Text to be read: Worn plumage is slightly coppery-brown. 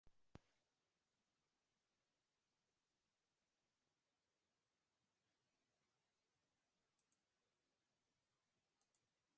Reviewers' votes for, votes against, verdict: 0, 2, rejected